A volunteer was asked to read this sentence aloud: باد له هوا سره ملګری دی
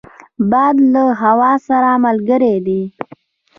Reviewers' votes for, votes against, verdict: 4, 0, accepted